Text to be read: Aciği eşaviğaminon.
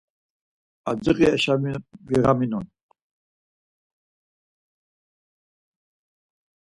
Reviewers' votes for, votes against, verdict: 2, 4, rejected